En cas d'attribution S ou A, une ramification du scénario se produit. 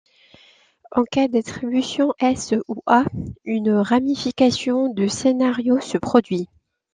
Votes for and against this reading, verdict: 2, 0, accepted